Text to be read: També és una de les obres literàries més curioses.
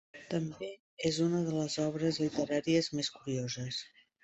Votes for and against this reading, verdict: 1, 2, rejected